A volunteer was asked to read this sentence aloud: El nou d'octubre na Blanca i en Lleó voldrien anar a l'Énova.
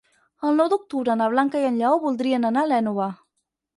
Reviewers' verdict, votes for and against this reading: accepted, 6, 0